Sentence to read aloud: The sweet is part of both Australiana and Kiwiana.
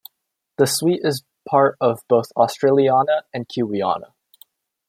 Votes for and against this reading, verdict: 2, 1, accepted